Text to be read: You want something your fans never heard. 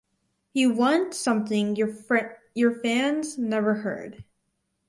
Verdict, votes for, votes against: rejected, 0, 4